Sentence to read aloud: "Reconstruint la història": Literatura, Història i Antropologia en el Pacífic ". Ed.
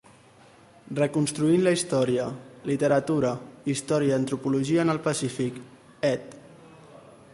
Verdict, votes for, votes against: rejected, 0, 2